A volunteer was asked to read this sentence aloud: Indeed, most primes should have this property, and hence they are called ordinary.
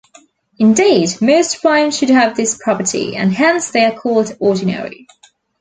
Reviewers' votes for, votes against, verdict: 2, 0, accepted